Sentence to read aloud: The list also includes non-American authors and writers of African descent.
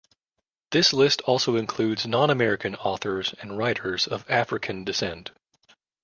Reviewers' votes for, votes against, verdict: 0, 2, rejected